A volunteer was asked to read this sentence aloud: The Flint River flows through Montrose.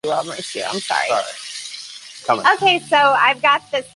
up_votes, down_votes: 0, 2